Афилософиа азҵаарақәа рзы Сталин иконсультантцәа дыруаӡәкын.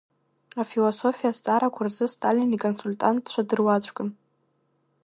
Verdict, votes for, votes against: rejected, 0, 2